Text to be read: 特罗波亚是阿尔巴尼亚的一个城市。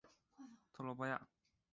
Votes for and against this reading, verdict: 1, 3, rejected